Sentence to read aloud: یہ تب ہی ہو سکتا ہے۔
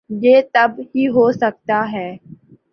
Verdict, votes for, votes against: accepted, 2, 0